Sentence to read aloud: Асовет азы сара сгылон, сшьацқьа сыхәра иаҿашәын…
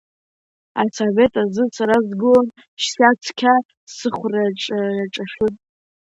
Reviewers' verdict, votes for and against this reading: rejected, 0, 2